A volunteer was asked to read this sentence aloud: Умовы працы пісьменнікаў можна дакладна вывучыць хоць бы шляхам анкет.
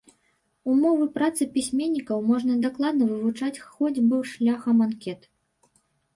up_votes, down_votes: 0, 2